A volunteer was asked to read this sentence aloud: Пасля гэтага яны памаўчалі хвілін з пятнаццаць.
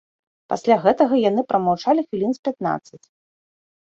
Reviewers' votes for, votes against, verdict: 0, 2, rejected